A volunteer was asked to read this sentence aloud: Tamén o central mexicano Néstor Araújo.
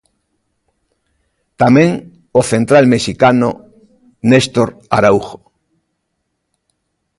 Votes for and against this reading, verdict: 2, 0, accepted